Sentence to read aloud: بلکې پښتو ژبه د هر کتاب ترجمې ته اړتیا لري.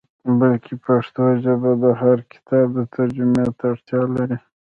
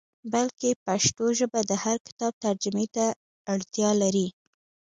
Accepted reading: second